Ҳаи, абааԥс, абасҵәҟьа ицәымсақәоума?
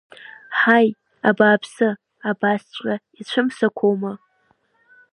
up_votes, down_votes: 2, 1